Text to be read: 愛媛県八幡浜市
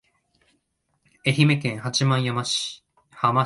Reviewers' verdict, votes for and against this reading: rejected, 0, 2